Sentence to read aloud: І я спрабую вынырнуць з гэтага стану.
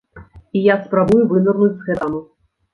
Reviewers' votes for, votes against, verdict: 0, 2, rejected